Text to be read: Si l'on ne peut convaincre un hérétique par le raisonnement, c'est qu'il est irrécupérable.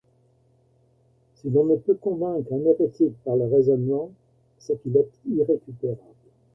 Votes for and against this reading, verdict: 1, 2, rejected